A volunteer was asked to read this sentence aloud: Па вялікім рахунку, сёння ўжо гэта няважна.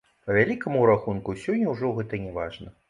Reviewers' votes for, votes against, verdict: 1, 2, rejected